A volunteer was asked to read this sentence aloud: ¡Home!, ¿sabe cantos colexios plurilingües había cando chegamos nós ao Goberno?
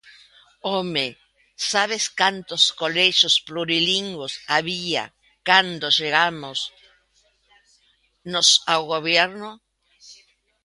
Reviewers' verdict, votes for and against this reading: rejected, 0, 2